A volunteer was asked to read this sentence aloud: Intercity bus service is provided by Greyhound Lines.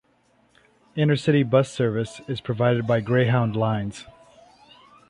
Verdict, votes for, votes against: accepted, 2, 0